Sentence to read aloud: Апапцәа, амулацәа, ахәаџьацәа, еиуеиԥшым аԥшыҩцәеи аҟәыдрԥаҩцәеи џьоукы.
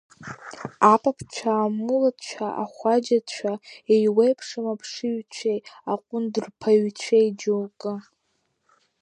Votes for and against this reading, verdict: 0, 2, rejected